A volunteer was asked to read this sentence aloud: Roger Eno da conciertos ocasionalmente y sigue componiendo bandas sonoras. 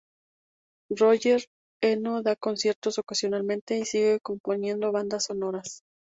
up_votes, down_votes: 2, 0